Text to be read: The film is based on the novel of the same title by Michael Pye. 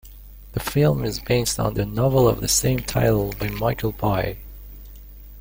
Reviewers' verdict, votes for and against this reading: accepted, 2, 1